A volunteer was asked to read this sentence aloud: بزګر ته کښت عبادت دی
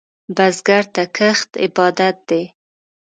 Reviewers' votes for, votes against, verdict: 3, 0, accepted